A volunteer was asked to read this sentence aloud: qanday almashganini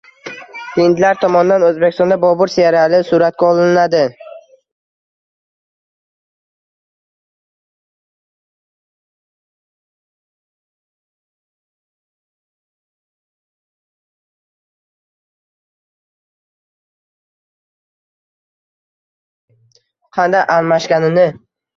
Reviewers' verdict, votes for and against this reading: rejected, 0, 2